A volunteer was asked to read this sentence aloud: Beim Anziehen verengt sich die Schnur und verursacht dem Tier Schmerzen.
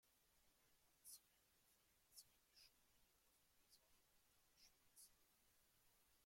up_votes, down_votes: 0, 2